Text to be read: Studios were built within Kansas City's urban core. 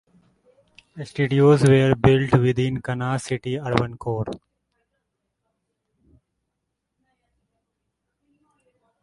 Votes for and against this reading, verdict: 0, 2, rejected